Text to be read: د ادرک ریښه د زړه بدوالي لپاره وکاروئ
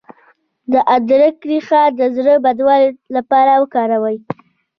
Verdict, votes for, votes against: rejected, 0, 2